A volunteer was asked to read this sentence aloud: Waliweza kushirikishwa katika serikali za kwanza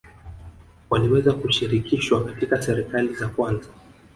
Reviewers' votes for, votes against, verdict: 2, 0, accepted